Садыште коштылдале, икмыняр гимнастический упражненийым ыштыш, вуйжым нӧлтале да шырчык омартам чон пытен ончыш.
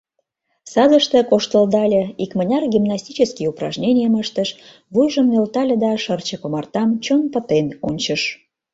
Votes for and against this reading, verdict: 2, 0, accepted